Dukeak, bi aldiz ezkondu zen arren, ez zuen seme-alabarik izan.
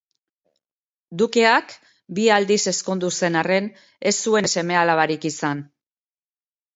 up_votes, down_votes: 3, 0